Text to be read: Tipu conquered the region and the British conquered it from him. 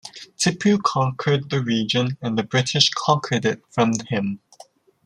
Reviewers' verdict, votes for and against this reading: accepted, 2, 0